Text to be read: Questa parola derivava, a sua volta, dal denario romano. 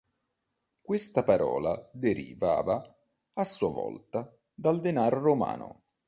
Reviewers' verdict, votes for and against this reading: rejected, 0, 2